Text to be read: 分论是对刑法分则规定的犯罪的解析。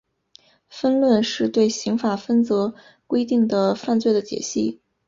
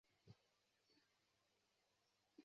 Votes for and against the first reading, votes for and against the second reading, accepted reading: 5, 0, 1, 2, first